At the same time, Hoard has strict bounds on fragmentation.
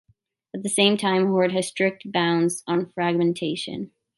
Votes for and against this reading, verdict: 2, 0, accepted